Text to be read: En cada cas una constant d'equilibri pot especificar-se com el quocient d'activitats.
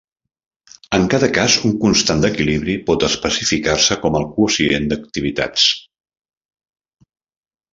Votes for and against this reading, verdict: 0, 2, rejected